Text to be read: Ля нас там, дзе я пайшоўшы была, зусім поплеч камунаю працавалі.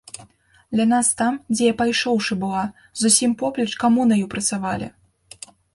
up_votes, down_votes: 3, 0